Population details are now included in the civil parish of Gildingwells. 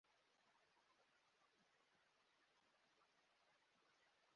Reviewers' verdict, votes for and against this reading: rejected, 0, 2